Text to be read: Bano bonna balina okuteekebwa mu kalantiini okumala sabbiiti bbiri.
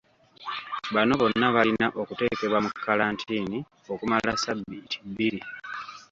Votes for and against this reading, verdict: 2, 1, accepted